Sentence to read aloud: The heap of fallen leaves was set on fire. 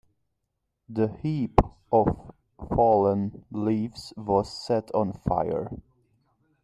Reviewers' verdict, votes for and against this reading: rejected, 1, 2